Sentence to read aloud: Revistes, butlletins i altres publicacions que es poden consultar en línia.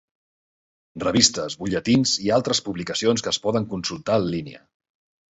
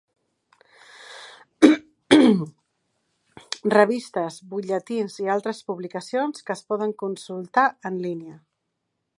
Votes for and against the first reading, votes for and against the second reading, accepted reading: 2, 0, 0, 2, first